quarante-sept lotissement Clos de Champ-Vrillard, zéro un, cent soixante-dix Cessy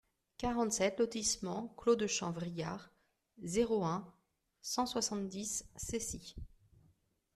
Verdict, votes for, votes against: accepted, 2, 0